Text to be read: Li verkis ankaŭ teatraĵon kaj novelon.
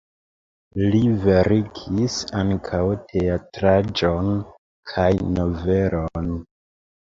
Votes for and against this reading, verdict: 1, 2, rejected